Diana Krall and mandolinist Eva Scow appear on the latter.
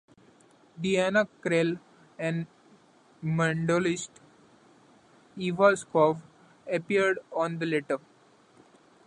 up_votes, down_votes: 0, 2